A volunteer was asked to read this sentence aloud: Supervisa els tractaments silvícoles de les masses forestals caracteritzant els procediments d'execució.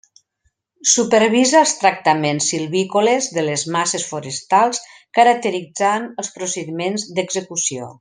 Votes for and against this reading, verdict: 2, 0, accepted